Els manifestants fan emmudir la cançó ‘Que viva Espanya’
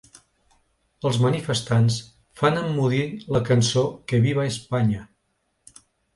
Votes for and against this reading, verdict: 2, 0, accepted